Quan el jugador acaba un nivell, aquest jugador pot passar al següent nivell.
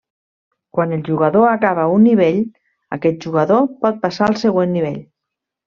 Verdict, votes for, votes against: accepted, 3, 0